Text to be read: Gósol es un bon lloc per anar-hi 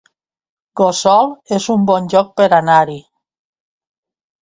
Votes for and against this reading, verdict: 0, 2, rejected